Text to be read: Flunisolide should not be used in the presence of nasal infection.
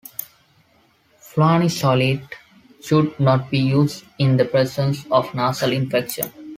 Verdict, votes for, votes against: accepted, 2, 1